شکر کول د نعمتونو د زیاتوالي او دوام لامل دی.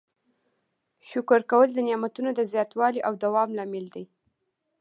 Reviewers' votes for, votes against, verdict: 2, 0, accepted